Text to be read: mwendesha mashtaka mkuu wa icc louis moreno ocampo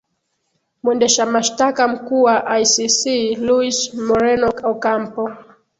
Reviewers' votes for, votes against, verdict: 3, 5, rejected